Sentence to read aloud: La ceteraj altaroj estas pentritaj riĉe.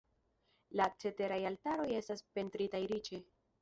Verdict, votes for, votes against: rejected, 0, 2